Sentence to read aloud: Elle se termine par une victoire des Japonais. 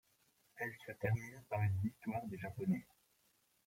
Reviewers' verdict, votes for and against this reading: rejected, 0, 2